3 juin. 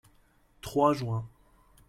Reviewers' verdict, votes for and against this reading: rejected, 0, 2